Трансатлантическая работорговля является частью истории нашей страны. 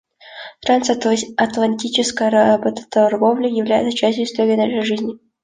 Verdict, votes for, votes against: rejected, 0, 2